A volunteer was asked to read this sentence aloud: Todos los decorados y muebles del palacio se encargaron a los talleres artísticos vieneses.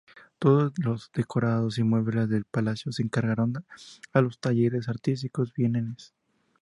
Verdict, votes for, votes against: accepted, 2, 0